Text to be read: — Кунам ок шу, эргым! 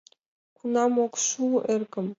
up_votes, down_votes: 2, 0